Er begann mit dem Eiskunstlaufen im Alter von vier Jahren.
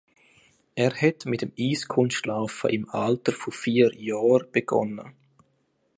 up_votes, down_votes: 0, 2